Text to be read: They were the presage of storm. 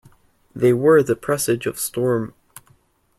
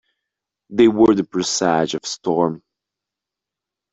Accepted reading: first